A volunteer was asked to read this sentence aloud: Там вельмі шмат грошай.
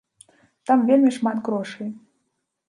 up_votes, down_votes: 0, 2